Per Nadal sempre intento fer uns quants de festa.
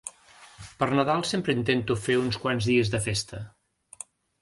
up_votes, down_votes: 0, 2